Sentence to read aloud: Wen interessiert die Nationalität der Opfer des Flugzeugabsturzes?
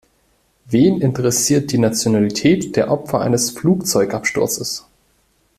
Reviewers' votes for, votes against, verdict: 1, 2, rejected